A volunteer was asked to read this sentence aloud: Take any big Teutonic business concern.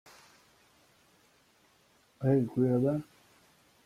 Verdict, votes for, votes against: rejected, 0, 2